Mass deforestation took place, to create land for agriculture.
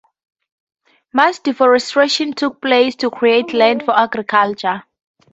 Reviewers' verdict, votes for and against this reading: accepted, 2, 0